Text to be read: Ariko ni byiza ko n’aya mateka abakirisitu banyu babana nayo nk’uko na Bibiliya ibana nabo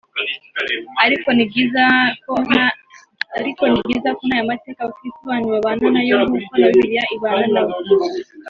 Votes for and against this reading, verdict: 0, 3, rejected